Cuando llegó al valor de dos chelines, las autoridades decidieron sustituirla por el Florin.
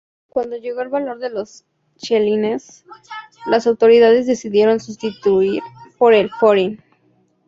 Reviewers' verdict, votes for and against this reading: rejected, 0, 2